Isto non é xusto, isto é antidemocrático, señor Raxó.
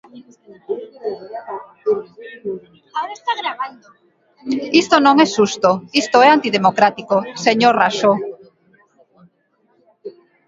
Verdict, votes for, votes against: rejected, 0, 2